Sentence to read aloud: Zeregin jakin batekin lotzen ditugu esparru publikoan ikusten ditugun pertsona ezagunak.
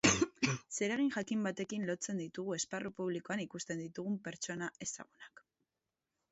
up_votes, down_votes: 0, 2